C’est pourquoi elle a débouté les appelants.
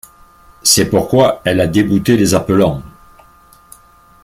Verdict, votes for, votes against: accepted, 2, 1